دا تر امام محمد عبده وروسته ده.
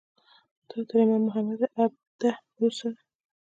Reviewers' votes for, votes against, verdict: 1, 2, rejected